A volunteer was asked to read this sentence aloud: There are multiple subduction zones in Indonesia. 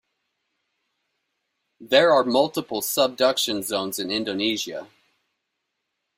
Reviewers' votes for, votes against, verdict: 2, 0, accepted